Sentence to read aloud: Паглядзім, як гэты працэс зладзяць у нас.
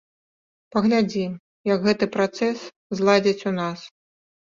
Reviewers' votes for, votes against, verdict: 1, 2, rejected